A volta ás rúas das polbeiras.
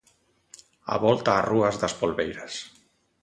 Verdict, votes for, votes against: accepted, 2, 0